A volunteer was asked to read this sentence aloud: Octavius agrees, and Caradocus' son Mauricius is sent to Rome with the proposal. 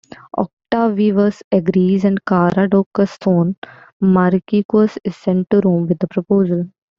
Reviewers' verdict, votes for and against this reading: rejected, 0, 2